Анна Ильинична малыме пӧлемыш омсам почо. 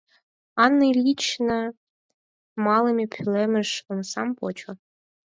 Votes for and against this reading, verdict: 2, 4, rejected